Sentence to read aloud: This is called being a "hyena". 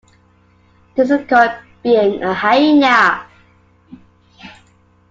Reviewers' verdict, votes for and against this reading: accepted, 2, 0